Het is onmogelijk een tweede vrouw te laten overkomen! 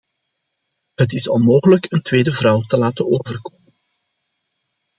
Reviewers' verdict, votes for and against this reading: rejected, 0, 2